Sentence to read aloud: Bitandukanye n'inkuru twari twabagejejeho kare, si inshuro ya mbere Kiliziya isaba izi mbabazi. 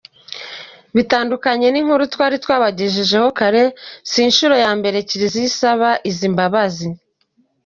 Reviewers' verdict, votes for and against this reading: accepted, 2, 0